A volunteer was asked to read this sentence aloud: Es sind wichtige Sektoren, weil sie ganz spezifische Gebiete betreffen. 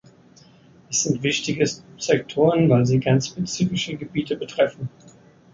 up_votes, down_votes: 0, 2